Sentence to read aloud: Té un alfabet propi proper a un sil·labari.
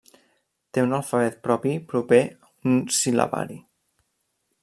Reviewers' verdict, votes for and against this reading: rejected, 0, 2